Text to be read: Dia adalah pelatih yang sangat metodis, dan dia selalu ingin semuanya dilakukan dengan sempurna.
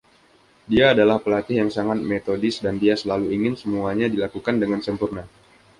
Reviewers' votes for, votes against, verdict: 2, 0, accepted